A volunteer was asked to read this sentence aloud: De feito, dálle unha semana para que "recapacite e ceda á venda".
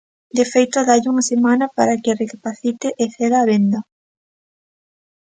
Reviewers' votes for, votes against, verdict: 2, 0, accepted